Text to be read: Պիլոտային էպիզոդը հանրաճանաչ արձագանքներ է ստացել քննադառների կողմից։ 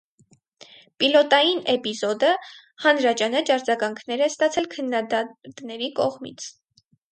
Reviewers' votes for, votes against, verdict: 2, 2, rejected